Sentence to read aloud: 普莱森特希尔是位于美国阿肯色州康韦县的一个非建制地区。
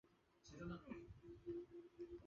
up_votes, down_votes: 0, 2